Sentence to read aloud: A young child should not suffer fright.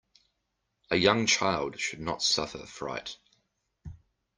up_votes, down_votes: 2, 0